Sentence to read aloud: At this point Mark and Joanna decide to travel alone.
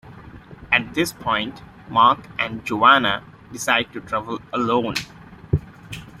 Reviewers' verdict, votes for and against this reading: accepted, 3, 0